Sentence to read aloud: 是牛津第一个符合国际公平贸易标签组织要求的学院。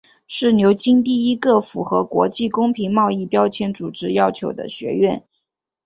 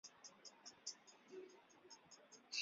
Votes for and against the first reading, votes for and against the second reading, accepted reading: 3, 0, 0, 2, first